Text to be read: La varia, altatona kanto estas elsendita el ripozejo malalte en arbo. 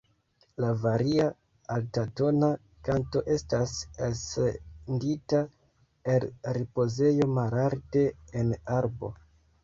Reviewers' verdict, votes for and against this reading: accepted, 2, 1